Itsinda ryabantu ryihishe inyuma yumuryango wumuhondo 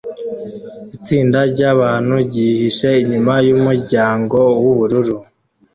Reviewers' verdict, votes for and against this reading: rejected, 0, 2